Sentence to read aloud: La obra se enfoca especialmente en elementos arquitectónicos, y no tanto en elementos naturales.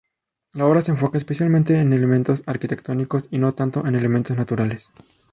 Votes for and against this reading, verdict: 2, 0, accepted